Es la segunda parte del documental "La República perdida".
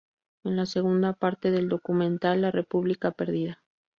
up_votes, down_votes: 0, 2